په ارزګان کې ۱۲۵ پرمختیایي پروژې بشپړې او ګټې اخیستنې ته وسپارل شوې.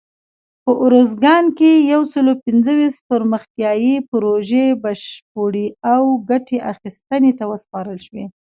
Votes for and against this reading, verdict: 0, 2, rejected